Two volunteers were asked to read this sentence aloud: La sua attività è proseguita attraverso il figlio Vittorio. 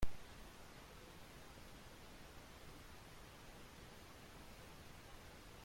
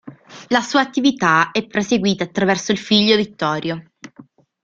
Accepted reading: second